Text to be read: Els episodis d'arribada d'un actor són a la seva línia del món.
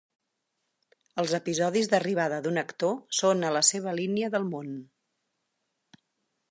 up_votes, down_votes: 6, 0